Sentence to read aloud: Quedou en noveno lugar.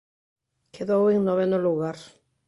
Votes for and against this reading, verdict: 2, 0, accepted